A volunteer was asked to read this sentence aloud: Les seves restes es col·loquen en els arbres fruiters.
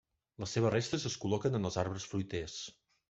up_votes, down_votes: 1, 2